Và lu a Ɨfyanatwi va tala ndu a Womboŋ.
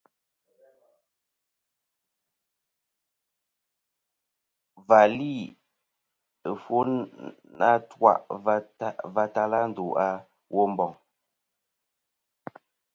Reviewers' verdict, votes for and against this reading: rejected, 1, 2